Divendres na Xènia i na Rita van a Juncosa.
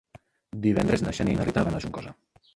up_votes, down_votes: 0, 2